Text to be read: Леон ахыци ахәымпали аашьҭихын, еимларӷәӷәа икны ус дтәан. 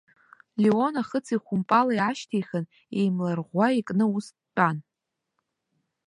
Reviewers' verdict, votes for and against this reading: accepted, 2, 0